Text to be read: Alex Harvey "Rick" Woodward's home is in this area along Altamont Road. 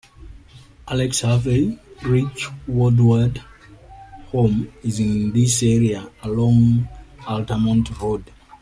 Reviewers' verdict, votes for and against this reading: rejected, 0, 2